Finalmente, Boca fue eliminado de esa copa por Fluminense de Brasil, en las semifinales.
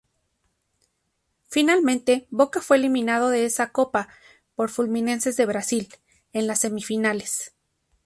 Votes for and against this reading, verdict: 2, 0, accepted